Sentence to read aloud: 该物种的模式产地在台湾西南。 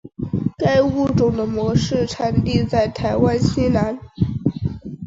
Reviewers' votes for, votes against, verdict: 8, 0, accepted